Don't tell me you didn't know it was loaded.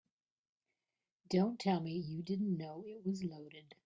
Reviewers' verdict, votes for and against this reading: accepted, 2, 1